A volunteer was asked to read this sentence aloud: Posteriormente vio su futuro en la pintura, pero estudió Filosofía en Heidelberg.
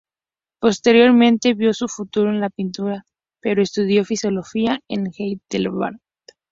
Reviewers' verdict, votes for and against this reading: rejected, 0, 2